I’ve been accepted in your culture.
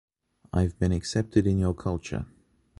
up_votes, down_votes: 2, 0